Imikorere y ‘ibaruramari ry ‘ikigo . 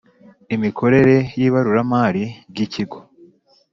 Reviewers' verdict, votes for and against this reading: accepted, 2, 0